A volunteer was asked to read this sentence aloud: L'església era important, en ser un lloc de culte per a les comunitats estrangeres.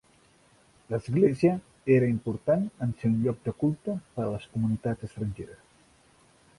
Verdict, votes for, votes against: accepted, 5, 1